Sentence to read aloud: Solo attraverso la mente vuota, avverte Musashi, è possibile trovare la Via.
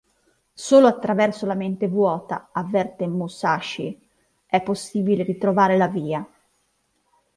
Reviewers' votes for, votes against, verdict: 2, 1, accepted